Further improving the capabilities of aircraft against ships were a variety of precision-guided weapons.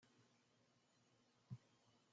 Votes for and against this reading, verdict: 0, 2, rejected